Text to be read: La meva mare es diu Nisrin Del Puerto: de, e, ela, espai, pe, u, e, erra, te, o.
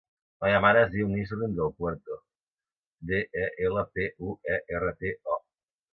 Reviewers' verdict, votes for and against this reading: rejected, 0, 2